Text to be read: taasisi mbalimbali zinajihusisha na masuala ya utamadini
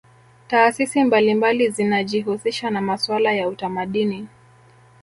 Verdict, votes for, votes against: rejected, 1, 2